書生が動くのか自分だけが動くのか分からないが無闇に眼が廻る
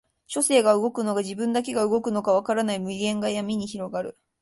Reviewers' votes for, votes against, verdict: 0, 2, rejected